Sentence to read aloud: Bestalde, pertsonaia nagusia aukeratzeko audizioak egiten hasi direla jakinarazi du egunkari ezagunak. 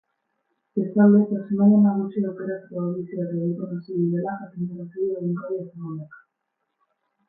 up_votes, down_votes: 0, 6